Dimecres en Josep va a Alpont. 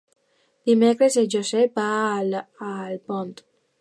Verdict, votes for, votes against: rejected, 1, 2